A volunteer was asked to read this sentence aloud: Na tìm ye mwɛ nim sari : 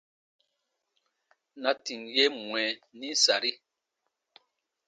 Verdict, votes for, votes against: accepted, 2, 0